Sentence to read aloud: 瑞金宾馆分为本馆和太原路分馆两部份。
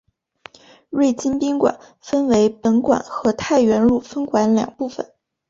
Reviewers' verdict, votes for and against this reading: accepted, 4, 2